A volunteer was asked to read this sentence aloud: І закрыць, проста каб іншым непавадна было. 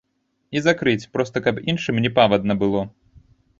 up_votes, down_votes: 0, 2